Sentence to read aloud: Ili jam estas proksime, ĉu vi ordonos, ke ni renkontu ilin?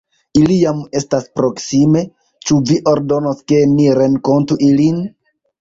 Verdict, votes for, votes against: accepted, 2, 0